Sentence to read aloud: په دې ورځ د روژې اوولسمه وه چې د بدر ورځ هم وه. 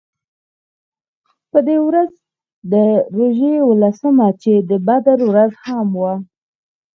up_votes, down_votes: 2, 4